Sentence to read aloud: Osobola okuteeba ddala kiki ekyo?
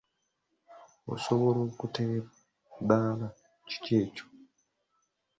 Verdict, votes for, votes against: rejected, 0, 2